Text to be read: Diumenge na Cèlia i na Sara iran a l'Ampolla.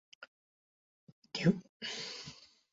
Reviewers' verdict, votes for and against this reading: rejected, 0, 2